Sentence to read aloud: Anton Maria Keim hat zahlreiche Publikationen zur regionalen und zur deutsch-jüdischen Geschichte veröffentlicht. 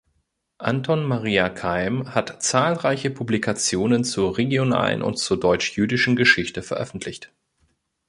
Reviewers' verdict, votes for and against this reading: accepted, 2, 0